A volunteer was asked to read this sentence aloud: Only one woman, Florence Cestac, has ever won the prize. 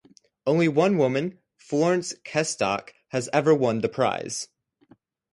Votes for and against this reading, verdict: 0, 2, rejected